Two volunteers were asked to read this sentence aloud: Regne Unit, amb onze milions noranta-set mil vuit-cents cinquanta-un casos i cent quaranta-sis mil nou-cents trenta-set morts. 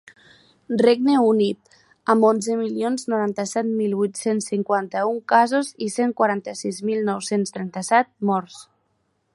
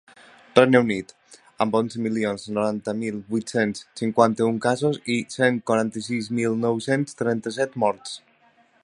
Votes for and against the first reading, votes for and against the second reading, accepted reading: 3, 0, 1, 2, first